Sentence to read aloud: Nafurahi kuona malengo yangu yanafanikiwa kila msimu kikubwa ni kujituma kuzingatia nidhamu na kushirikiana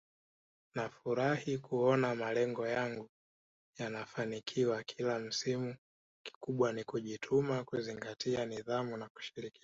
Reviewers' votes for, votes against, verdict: 1, 2, rejected